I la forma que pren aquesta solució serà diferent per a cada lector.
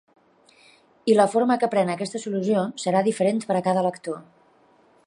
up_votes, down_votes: 3, 0